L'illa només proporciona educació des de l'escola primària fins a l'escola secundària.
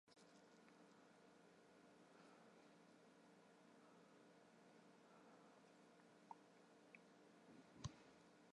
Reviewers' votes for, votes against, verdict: 0, 2, rejected